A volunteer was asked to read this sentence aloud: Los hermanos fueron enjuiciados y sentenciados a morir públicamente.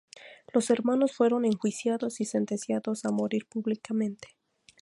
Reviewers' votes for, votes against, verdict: 2, 0, accepted